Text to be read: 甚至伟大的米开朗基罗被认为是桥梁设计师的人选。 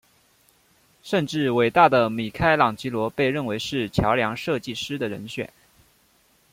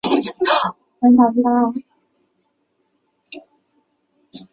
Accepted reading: first